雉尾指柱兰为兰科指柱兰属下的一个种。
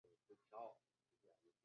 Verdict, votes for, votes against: rejected, 1, 4